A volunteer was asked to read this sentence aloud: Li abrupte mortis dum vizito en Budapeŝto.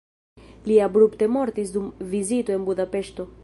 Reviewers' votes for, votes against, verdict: 1, 2, rejected